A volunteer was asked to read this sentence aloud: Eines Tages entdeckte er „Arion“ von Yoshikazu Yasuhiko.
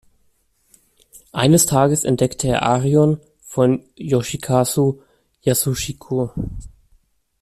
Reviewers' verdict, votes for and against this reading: rejected, 0, 2